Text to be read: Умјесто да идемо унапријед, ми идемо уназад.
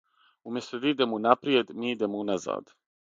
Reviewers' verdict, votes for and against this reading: accepted, 3, 0